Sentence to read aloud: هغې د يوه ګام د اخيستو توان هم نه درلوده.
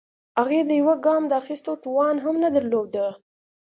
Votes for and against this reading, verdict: 2, 0, accepted